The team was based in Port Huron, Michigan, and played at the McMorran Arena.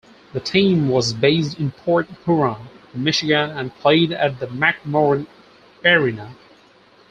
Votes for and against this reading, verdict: 2, 4, rejected